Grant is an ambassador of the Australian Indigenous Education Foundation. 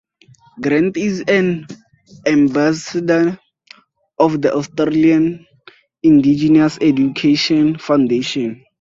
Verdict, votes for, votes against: accepted, 4, 0